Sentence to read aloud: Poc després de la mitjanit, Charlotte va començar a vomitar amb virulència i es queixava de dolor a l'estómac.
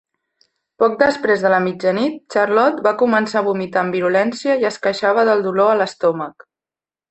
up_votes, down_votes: 2, 3